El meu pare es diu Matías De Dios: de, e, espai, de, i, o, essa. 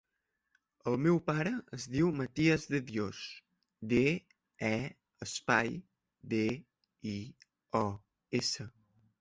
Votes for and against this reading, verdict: 3, 0, accepted